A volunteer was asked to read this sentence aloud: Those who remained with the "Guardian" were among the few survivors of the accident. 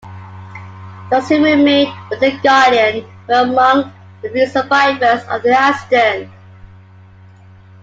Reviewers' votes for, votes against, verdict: 1, 2, rejected